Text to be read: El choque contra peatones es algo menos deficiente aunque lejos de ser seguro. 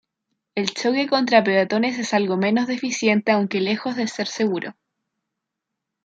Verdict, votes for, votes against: accepted, 2, 1